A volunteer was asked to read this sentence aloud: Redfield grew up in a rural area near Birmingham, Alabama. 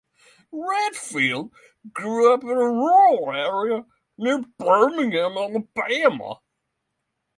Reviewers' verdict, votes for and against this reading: rejected, 3, 6